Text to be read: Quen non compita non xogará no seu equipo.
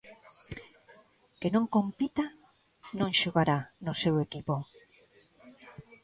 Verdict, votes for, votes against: rejected, 1, 2